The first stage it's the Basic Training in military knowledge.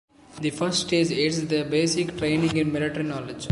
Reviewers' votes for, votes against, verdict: 1, 2, rejected